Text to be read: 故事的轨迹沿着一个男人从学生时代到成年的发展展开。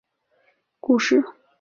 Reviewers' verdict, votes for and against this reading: rejected, 0, 3